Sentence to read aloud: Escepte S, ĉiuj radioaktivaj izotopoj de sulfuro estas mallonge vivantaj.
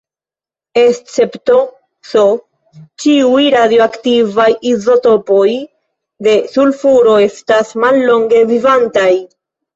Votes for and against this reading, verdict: 0, 2, rejected